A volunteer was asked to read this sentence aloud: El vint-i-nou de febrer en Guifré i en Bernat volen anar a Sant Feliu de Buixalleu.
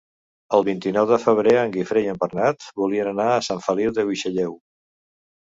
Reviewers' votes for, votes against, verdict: 1, 2, rejected